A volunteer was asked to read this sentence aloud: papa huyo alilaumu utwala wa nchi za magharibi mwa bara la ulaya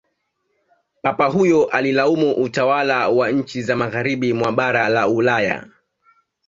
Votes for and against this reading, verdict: 1, 2, rejected